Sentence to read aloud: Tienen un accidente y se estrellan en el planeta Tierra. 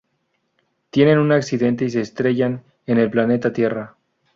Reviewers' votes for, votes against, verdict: 0, 2, rejected